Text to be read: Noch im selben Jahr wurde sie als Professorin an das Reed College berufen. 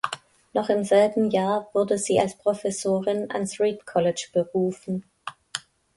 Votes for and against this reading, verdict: 0, 2, rejected